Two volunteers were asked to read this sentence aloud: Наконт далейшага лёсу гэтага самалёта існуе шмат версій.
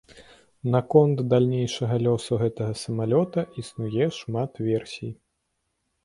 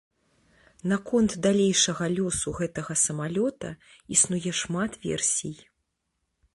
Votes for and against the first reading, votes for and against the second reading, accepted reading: 0, 2, 2, 0, second